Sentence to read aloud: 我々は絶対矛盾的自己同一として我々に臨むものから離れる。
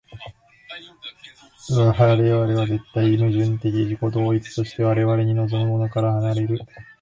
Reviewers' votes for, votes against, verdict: 1, 2, rejected